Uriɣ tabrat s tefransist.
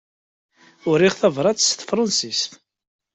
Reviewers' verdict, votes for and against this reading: accepted, 2, 0